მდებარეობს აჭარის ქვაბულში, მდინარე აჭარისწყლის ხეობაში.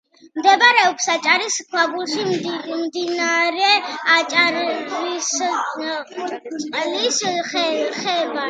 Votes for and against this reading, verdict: 1, 2, rejected